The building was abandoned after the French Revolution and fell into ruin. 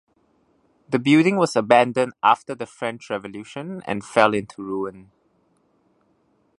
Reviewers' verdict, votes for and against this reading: accepted, 2, 0